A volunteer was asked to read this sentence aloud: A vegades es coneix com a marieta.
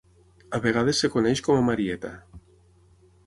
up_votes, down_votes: 0, 6